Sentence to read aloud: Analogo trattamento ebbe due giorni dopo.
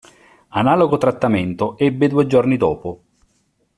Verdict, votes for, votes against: accepted, 2, 0